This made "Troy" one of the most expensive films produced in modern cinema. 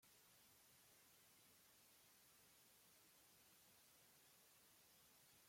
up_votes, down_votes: 1, 2